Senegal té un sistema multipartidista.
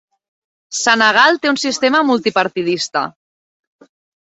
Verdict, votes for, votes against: accepted, 3, 0